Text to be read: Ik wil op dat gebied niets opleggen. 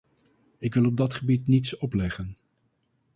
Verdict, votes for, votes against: accepted, 2, 0